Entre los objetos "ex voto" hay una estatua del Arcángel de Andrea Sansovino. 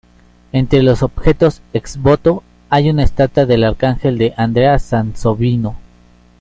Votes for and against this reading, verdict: 2, 0, accepted